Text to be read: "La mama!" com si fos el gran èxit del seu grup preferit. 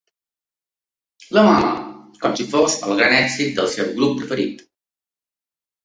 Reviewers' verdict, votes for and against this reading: accepted, 3, 0